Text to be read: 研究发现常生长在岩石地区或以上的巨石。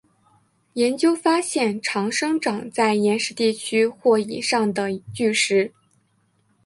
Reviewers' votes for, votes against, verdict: 3, 0, accepted